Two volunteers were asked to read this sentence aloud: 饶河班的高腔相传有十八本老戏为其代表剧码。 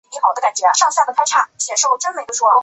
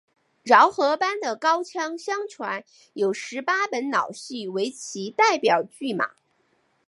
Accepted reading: second